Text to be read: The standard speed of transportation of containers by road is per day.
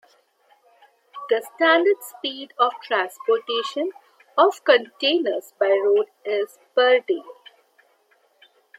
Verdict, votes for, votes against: accepted, 2, 1